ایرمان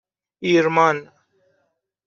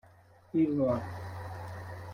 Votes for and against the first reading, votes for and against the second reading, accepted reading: 2, 0, 0, 2, first